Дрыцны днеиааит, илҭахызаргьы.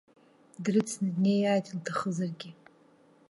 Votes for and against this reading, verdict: 2, 0, accepted